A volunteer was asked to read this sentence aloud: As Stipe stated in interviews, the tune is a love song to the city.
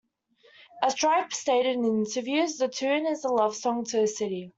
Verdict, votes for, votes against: rejected, 0, 2